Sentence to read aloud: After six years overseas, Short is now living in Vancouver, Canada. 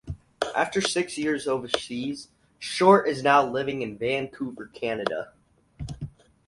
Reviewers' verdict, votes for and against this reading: accepted, 4, 0